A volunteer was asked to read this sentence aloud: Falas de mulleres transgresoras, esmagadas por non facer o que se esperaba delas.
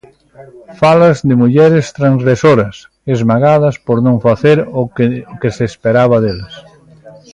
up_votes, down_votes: 0, 2